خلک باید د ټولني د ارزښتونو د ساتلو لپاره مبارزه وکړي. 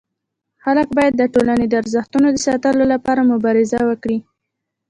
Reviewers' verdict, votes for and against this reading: rejected, 0, 2